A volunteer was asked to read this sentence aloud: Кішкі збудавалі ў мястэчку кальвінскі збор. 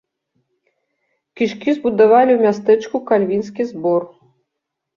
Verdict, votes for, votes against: rejected, 1, 2